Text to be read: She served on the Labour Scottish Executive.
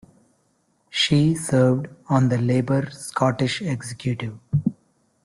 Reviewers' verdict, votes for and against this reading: rejected, 1, 2